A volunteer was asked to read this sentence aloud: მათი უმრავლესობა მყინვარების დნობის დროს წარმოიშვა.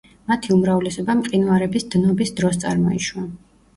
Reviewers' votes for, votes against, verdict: 2, 0, accepted